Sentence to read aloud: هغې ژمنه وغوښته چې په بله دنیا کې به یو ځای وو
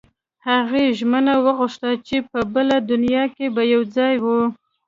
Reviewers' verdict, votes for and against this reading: accepted, 2, 0